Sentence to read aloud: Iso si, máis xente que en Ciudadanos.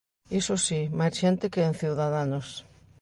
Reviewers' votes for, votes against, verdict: 2, 0, accepted